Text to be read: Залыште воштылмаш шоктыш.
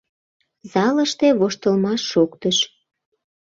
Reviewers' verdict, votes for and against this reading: accepted, 2, 0